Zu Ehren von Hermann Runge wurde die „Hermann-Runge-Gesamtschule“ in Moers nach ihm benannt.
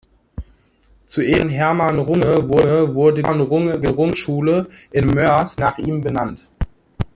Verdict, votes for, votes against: rejected, 0, 2